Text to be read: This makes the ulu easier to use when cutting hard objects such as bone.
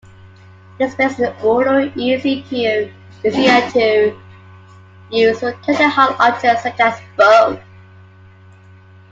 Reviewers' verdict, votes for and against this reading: rejected, 0, 3